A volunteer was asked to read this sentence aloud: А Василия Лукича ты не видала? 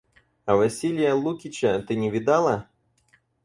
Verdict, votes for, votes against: accepted, 4, 0